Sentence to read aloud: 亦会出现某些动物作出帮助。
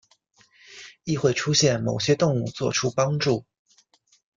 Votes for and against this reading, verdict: 2, 0, accepted